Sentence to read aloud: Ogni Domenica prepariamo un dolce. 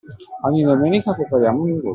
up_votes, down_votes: 2, 0